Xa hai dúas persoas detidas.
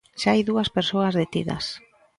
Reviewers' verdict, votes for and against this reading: rejected, 1, 2